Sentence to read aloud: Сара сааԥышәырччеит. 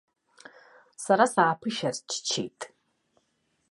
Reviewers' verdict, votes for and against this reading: rejected, 0, 2